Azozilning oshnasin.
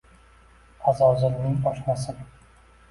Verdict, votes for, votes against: rejected, 1, 2